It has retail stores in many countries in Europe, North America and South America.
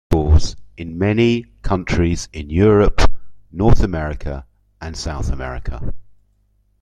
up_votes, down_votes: 0, 2